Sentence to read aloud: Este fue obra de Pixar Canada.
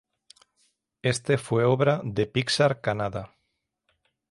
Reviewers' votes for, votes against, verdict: 6, 0, accepted